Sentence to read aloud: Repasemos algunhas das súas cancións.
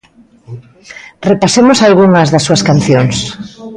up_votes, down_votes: 0, 2